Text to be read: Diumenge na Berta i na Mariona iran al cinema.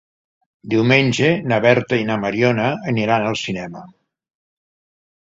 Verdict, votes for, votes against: rejected, 0, 2